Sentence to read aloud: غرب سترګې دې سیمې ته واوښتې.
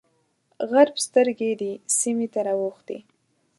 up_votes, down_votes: 1, 2